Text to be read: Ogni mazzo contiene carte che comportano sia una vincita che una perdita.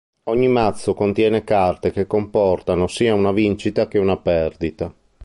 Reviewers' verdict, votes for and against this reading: accepted, 2, 0